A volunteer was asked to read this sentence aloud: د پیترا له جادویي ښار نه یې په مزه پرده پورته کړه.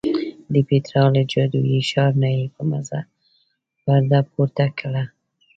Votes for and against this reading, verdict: 1, 2, rejected